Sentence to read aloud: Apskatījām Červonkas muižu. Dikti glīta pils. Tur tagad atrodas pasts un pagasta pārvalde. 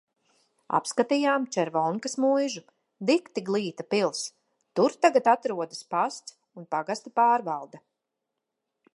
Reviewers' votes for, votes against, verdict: 2, 0, accepted